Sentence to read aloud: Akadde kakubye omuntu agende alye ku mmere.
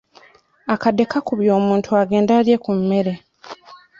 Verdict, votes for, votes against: rejected, 0, 2